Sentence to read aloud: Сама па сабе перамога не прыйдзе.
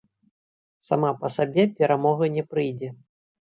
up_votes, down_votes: 1, 2